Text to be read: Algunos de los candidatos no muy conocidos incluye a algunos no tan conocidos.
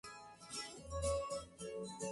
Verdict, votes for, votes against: rejected, 0, 2